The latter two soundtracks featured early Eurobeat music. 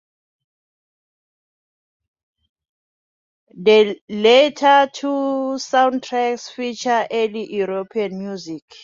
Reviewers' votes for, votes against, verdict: 0, 2, rejected